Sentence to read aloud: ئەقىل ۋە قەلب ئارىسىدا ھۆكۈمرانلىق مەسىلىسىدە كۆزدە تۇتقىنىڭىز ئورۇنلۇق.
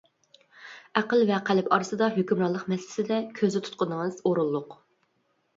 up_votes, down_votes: 2, 0